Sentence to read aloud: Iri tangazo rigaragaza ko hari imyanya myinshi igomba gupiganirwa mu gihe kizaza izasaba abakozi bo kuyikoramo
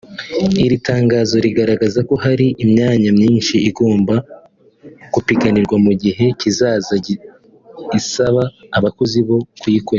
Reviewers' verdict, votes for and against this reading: rejected, 0, 3